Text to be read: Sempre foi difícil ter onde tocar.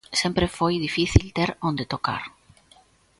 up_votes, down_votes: 2, 0